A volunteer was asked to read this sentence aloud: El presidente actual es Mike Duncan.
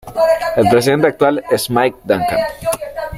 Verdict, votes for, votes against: rejected, 0, 2